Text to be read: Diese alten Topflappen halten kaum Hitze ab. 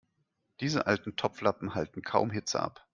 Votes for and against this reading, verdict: 2, 0, accepted